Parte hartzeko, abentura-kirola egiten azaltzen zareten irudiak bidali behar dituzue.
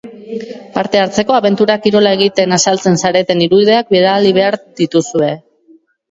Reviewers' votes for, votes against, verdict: 1, 2, rejected